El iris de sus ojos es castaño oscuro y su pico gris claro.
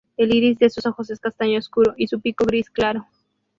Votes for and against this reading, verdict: 4, 0, accepted